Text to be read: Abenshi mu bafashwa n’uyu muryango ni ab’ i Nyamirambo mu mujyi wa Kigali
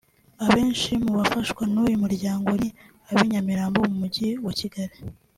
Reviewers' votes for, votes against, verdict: 2, 0, accepted